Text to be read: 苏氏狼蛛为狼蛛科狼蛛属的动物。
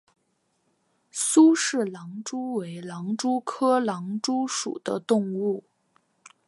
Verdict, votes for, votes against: accepted, 4, 0